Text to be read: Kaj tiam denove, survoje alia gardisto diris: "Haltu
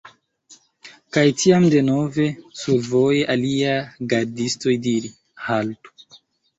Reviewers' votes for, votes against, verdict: 0, 2, rejected